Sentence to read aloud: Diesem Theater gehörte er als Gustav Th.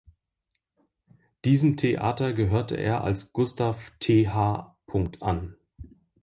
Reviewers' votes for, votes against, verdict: 1, 2, rejected